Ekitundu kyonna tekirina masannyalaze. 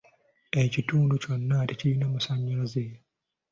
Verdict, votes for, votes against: accepted, 2, 0